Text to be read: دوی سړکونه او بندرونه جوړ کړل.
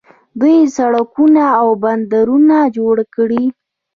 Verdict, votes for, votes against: rejected, 1, 2